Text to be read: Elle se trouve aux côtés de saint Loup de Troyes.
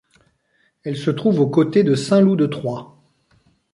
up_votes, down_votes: 2, 0